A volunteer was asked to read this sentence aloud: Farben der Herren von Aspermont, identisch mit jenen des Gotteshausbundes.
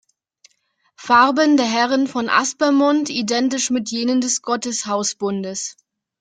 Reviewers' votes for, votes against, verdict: 2, 0, accepted